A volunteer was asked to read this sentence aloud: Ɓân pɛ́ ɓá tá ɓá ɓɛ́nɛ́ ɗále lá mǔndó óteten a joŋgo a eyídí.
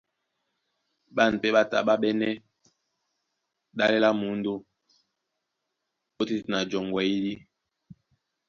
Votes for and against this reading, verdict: 2, 0, accepted